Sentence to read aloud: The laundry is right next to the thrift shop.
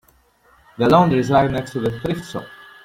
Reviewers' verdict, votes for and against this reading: rejected, 1, 2